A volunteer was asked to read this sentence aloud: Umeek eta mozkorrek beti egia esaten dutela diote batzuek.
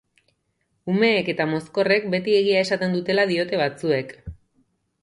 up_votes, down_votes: 3, 0